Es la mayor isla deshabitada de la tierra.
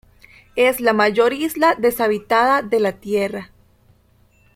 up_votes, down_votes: 2, 1